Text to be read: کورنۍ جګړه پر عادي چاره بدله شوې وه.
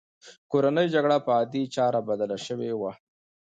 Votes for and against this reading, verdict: 2, 0, accepted